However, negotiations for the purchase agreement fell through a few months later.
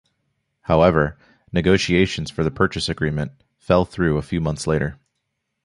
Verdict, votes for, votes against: accepted, 2, 0